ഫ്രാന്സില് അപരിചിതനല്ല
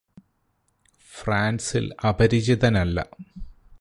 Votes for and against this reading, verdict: 2, 2, rejected